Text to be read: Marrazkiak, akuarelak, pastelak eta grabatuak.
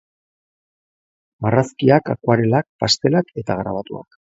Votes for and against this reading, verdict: 2, 0, accepted